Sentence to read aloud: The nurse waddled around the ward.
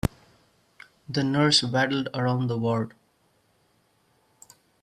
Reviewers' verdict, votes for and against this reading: rejected, 1, 2